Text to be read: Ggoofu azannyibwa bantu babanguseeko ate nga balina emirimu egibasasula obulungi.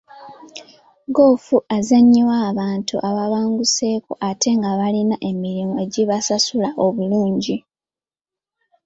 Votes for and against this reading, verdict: 0, 2, rejected